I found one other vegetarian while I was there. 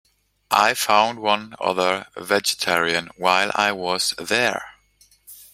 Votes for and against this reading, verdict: 2, 1, accepted